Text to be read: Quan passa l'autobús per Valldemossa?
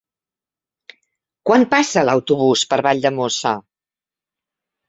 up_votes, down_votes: 5, 0